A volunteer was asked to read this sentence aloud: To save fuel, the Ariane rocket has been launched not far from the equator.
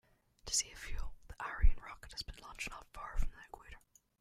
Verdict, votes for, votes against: rejected, 0, 2